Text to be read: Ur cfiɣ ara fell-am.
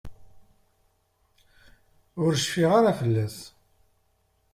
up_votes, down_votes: 0, 2